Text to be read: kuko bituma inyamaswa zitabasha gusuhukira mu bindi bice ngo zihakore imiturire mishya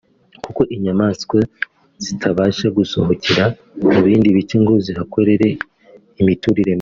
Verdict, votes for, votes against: rejected, 1, 2